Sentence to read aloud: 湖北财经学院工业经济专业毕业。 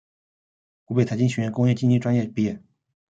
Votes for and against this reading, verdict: 2, 1, accepted